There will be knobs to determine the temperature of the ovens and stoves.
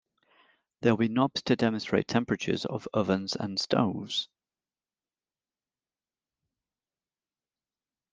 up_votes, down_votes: 0, 2